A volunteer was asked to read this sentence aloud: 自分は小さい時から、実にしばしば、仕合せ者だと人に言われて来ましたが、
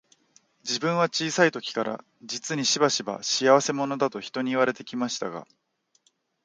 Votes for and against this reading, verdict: 2, 0, accepted